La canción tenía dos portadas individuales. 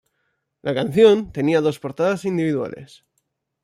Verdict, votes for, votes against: accepted, 2, 0